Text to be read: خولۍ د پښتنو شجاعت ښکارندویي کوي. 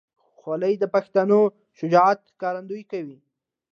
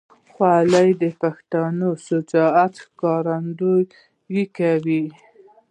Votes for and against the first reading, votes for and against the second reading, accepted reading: 2, 0, 0, 2, first